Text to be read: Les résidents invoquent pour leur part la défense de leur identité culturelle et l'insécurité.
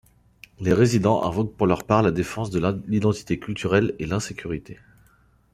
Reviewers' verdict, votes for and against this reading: rejected, 1, 2